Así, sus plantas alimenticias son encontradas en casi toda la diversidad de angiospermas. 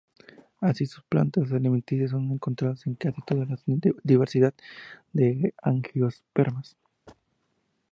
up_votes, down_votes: 0, 2